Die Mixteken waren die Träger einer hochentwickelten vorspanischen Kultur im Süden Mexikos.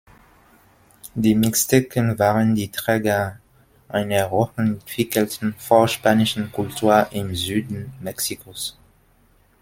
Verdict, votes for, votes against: accepted, 2, 0